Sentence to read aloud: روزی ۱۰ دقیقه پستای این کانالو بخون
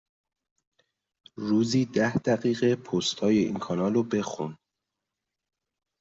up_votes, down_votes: 0, 2